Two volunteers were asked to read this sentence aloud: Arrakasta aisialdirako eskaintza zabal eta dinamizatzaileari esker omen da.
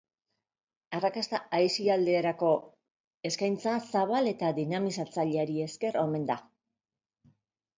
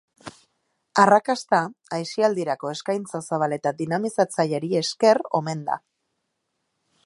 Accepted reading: second